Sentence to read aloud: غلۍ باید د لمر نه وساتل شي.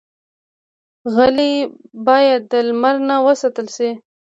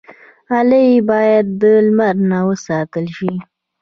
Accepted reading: first